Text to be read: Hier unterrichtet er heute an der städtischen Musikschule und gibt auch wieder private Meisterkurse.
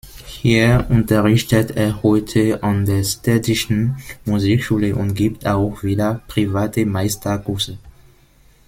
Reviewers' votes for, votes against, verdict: 1, 2, rejected